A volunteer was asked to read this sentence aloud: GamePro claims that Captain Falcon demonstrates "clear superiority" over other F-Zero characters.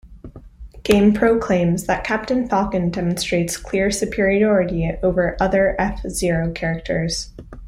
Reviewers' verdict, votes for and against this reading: accepted, 2, 0